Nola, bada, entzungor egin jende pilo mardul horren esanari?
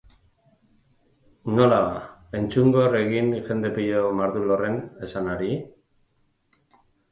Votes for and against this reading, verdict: 0, 2, rejected